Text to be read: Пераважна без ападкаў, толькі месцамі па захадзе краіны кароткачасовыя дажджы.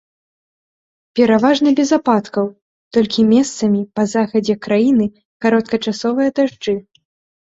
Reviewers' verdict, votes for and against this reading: accepted, 3, 0